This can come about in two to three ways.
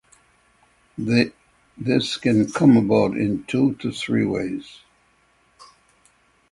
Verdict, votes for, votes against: accepted, 6, 3